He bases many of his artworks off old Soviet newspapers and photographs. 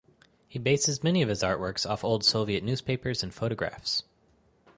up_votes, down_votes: 4, 0